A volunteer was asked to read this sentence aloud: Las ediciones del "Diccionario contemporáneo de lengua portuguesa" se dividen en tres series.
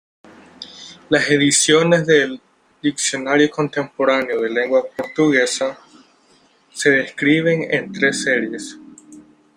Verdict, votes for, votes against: rejected, 1, 2